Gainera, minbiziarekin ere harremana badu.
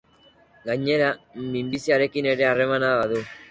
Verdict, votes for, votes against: accepted, 2, 0